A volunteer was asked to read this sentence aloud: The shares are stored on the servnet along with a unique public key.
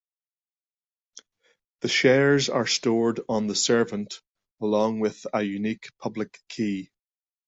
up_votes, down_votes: 2, 0